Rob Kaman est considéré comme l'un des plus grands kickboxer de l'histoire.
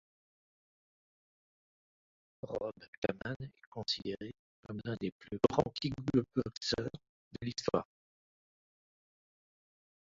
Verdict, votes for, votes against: rejected, 0, 2